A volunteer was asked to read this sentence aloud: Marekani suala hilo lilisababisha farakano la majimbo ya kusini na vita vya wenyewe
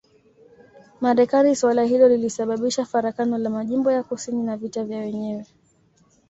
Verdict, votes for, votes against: accepted, 2, 0